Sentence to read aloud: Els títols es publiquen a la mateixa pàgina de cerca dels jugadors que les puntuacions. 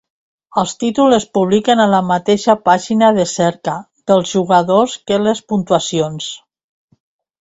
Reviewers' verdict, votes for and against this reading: accepted, 2, 0